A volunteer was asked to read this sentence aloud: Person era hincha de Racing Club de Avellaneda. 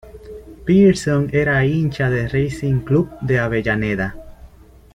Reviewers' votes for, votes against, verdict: 1, 2, rejected